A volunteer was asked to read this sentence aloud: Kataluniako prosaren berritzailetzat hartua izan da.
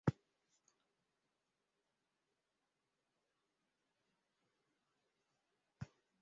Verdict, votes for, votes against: rejected, 0, 3